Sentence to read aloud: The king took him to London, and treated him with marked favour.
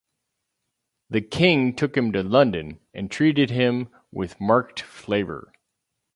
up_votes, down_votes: 0, 4